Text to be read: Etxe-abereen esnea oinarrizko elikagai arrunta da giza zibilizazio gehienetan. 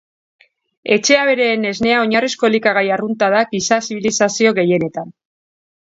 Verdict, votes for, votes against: accepted, 2, 0